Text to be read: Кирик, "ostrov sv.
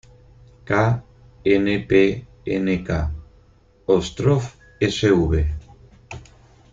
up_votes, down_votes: 0, 4